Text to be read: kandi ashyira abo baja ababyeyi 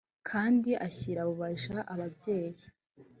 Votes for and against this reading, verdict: 0, 2, rejected